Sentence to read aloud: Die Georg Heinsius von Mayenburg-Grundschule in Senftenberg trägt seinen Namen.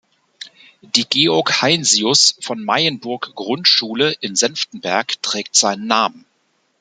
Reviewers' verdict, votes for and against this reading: accepted, 2, 0